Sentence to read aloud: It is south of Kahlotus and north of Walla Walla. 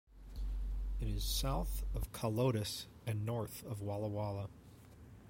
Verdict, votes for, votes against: rejected, 1, 2